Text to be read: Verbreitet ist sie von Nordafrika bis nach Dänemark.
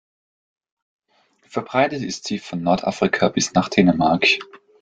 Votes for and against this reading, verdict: 2, 0, accepted